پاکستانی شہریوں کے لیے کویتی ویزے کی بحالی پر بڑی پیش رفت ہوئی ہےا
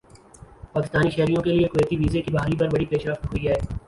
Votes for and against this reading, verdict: 0, 2, rejected